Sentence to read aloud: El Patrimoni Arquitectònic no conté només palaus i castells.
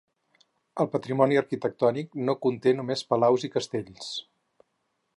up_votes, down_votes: 4, 0